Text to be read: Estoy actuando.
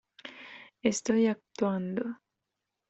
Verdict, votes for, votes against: accepted, 2, 1